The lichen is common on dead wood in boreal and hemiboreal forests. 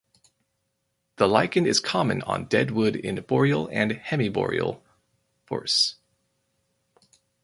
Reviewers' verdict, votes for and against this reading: rejected, 0, 4